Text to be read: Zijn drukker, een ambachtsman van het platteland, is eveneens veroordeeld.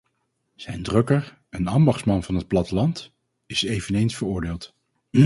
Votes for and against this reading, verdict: 0, 2, rejected